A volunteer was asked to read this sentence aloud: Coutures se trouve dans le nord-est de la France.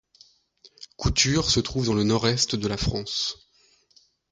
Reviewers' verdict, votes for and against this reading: accepted, 2, 1